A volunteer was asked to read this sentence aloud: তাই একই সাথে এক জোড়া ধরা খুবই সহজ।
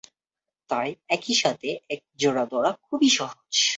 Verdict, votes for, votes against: rejected, 0, 2